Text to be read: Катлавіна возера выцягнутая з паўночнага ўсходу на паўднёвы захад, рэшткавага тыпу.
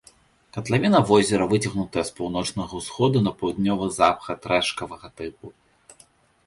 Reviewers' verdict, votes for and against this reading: rejected, 0, 2